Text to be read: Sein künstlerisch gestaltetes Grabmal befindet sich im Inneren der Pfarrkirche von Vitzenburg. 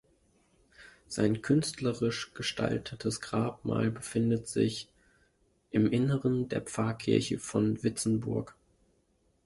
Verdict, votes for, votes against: accepted, 2, 1